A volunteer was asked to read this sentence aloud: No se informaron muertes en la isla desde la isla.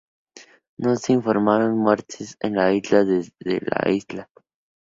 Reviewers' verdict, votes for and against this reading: accepted, 2, 0